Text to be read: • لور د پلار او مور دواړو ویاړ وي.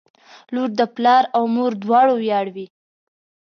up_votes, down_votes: 2, 0